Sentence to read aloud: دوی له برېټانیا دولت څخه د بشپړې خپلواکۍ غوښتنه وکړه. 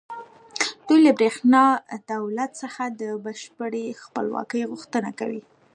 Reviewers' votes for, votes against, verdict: 0, 2, rejected